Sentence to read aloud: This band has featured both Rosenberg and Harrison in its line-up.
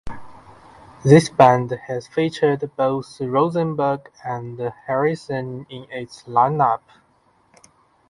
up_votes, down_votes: 2, 0